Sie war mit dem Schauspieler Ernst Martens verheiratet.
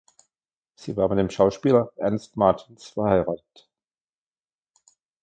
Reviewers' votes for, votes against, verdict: 0, 2, rejected